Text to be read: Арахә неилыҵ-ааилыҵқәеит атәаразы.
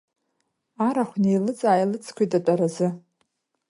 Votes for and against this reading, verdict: 2, 1, accepted